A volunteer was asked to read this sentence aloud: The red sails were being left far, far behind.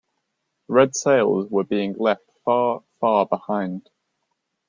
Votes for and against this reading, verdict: 1, 2, rejected